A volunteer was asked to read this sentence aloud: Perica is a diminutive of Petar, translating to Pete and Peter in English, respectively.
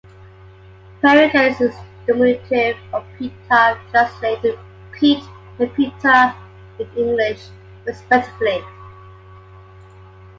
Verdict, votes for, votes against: rejected, 1, 2